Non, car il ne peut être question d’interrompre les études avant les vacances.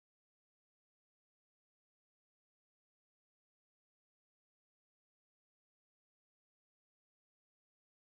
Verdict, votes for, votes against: rejected, 0, 2